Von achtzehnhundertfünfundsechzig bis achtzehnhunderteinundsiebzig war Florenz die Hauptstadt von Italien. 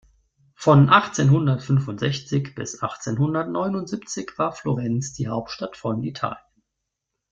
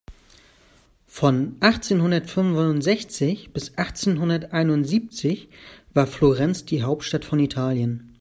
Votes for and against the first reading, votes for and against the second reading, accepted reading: 0, 2, 2, 0, second